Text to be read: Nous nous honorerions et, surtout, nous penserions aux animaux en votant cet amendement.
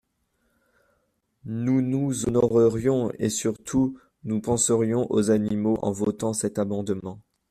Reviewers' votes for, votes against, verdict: 2, 1, accepted